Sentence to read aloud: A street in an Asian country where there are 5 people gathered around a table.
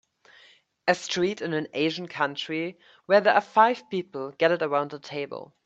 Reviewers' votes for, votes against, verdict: 0, 2, rejected